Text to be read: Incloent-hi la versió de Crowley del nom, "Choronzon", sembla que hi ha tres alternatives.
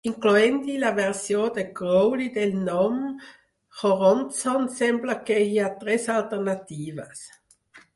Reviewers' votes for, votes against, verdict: 2, 6, rejected